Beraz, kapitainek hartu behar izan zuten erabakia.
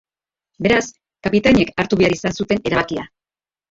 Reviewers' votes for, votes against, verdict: 2, 0, accepted